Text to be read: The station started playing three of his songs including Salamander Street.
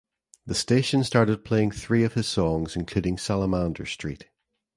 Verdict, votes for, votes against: accepted, 2, 0